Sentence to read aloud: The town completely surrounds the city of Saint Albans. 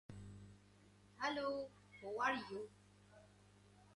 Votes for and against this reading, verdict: 0, 3, rejected